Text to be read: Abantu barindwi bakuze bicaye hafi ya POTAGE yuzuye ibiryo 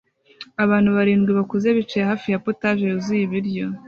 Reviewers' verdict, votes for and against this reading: accepted, 2, 0